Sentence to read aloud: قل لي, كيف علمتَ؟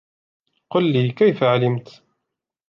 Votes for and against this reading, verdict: 2, 1, accepted